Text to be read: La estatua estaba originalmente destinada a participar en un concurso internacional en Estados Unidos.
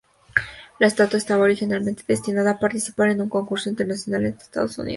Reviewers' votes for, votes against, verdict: 2, 0, accepted